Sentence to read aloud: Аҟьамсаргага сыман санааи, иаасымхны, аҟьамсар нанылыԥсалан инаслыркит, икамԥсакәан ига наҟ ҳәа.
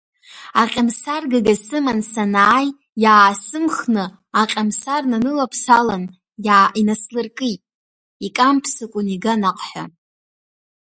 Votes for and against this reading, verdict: 0, 2, rejected